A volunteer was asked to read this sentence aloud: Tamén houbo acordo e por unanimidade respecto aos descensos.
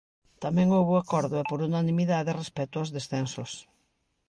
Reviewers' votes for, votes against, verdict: 1, 2, rejected